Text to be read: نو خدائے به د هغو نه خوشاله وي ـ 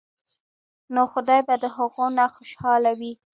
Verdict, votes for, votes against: accepted, 2, 1